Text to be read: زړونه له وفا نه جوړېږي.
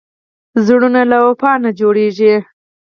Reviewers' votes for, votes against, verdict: 2, 4, rejected